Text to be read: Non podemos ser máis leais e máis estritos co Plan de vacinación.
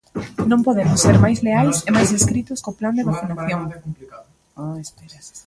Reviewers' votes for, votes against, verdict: 0, 2, rejected